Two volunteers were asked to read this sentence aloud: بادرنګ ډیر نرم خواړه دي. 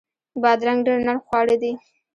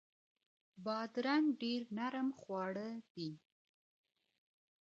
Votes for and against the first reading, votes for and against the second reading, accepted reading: 0, 2, 2, 1, second